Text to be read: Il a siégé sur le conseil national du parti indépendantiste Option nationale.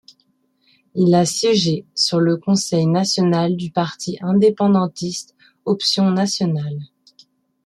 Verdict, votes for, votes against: accepted, 2, 0